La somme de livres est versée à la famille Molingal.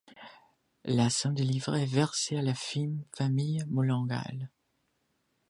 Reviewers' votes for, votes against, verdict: 1, 2, rejected